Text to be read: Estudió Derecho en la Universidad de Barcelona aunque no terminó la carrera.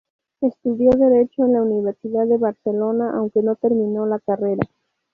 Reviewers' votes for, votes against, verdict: 2, 0, accepted